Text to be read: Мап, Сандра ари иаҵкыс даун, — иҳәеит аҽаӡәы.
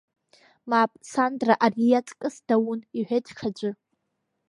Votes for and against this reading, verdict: 0, 2, rejected